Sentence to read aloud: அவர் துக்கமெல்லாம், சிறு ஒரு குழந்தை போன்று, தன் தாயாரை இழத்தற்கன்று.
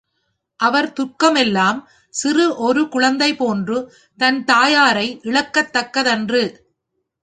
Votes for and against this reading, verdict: 1, 2, rejected